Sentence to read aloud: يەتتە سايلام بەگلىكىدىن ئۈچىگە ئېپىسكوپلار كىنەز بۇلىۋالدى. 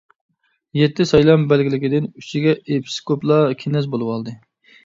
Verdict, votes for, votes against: rejected, 1, 2